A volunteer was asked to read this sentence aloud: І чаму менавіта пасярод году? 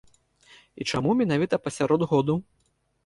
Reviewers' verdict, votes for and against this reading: accepted, 2, 0